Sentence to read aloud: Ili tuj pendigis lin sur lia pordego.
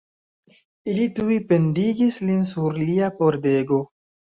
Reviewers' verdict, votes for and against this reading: accepted, 2, 1